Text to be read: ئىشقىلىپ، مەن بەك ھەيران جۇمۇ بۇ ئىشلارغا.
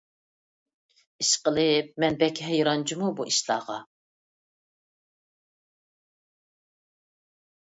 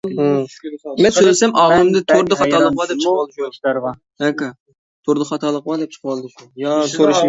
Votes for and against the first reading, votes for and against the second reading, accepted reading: 2, 0, 0, 2, first